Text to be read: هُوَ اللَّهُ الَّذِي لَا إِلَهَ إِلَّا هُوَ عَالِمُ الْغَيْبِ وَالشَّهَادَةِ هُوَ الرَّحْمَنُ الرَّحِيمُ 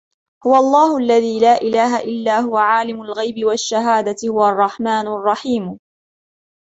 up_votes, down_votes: 2, 0